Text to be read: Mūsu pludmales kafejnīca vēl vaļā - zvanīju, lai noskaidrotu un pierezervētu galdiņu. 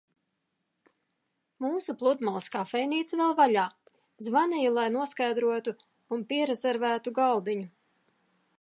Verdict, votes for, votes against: accepted, 2, 0